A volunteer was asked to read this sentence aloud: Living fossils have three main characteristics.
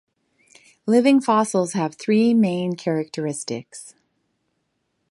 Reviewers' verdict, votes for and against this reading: accepted, 2, 0